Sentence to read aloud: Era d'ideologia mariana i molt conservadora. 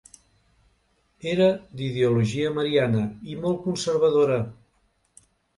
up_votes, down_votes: 2, 0